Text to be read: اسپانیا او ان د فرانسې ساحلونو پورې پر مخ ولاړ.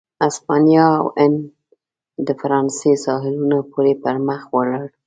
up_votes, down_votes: 2, 0